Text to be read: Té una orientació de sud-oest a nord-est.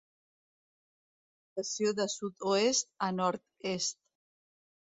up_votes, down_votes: 0, 2